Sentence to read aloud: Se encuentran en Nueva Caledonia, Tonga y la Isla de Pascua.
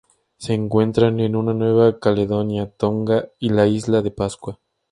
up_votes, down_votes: 2, 0